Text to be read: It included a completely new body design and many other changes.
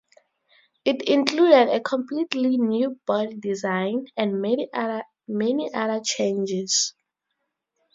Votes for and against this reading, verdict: 2, 0, accepted